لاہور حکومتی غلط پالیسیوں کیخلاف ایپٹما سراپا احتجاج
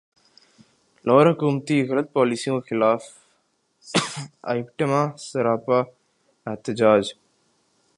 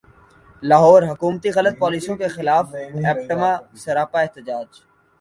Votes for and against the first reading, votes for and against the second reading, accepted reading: 0, 2, 2, 0, second